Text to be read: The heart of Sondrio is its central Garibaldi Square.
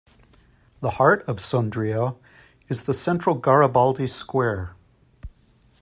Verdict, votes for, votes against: rejected, 1, 2